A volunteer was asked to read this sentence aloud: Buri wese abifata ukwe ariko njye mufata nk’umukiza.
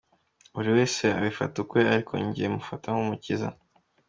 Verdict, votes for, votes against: accepted, 2, 0